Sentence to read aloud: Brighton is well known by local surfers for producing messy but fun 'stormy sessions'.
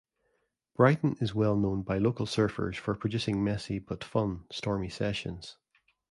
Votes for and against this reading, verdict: 2, 0, accepted